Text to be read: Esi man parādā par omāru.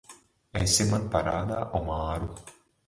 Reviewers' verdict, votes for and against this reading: rejected, 0, 3